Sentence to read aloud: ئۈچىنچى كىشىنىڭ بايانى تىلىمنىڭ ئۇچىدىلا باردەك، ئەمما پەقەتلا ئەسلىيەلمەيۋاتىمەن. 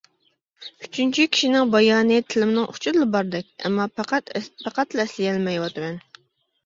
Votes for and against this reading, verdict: 0, 2, rejected